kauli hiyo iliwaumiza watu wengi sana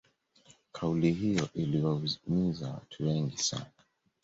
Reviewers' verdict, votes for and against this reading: accepted, 2, 0